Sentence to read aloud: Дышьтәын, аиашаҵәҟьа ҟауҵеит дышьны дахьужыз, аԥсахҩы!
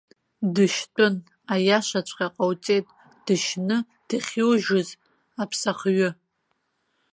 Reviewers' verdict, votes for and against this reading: rejected, 0, 2